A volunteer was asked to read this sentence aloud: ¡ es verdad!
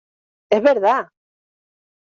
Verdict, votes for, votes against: accepted, 2, 0